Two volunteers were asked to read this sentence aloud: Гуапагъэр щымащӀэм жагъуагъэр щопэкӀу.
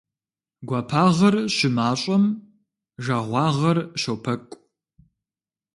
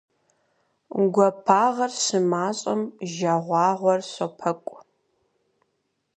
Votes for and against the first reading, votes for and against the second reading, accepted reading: 2, 0, 2, 4, first